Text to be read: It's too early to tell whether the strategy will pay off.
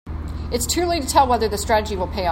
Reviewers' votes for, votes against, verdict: 1, 2, rejected